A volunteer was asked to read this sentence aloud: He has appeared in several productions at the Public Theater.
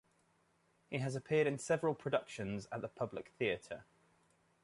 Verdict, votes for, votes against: accepted, 2, 0